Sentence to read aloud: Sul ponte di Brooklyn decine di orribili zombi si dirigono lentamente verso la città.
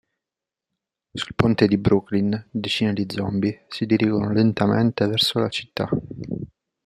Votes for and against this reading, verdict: 0, 2, rejected